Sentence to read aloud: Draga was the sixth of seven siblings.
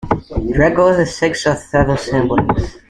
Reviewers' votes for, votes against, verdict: 0, 2, rejected